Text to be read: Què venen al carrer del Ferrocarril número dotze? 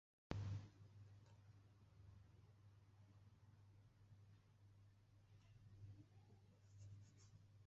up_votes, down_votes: 0, 2